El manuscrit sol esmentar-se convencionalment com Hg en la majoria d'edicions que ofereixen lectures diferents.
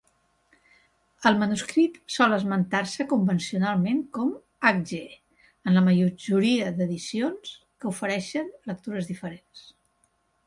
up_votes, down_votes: 0, 2